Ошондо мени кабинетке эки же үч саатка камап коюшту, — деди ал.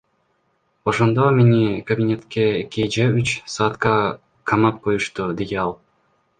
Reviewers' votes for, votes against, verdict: 1, 2, rejected